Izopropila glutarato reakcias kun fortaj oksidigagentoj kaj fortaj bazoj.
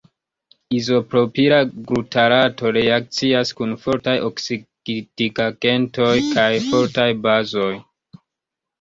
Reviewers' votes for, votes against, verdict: 0, 2, rejected